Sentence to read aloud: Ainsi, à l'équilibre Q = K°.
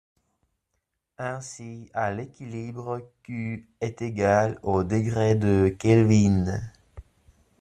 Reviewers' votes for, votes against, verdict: 1, 2, rejected